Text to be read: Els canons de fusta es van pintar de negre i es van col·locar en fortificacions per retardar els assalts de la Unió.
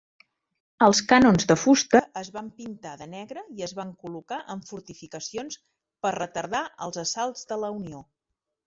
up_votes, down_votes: 0, 2